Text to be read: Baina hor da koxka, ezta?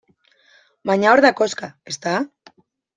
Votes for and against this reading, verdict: 2, 0, accepted